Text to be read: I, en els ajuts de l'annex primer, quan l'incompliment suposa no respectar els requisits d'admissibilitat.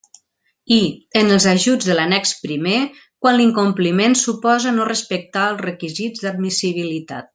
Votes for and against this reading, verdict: 2, 0, accepted